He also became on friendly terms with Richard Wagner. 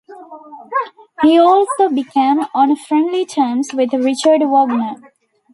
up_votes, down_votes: 1, 2